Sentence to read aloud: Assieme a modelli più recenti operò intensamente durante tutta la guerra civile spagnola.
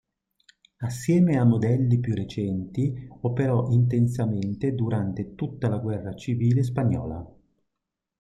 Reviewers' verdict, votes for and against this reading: accepted, 2, 0